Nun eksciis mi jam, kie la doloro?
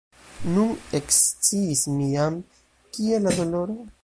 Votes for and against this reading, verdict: 0, 2, rejected